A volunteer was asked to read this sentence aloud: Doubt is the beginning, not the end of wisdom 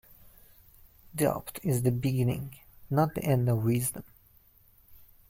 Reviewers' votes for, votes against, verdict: 2, 0, accepted